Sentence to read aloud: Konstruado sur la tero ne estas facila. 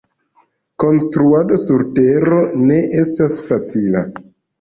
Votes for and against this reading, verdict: 2, 0, accepted